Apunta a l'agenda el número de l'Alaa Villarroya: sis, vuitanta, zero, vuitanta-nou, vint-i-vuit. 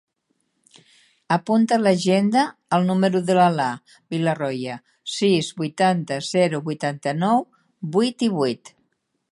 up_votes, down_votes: 0, 2